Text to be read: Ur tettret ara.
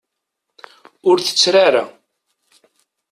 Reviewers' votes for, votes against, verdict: 1, 2, rejected